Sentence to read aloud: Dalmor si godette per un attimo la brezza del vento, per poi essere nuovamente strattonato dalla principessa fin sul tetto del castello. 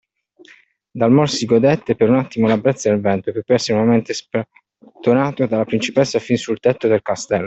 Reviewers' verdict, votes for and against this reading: rejected, 0, 2